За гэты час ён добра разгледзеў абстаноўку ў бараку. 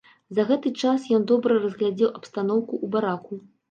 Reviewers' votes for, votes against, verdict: 1, 2, rejected